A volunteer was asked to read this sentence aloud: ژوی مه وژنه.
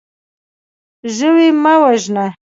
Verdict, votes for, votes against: accepted, 2, 0